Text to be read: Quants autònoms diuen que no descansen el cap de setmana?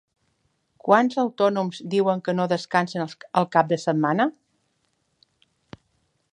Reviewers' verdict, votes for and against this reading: rejected, 0, 2